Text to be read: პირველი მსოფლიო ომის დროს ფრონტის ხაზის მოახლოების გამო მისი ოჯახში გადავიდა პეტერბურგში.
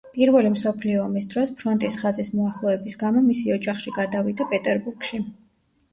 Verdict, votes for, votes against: rejected, 0, 2